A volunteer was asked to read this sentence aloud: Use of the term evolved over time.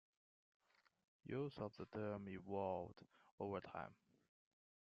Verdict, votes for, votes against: accepted, 2, 0